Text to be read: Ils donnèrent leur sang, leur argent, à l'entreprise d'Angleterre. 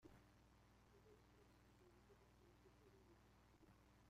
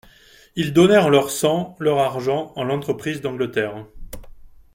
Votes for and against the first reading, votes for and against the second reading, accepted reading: 0, 2, 2, 1, second